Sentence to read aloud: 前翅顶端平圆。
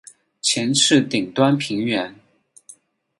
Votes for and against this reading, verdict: 10, 6, accepted